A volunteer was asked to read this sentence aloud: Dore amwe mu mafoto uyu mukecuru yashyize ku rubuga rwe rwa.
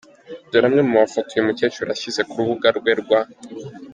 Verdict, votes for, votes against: accepted, 2, 0